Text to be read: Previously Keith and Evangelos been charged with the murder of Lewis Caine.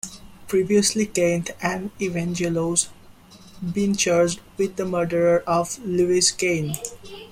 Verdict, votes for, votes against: accepted, 2, 1